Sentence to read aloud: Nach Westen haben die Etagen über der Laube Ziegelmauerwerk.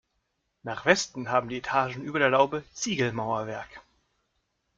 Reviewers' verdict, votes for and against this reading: accepted, 2, 0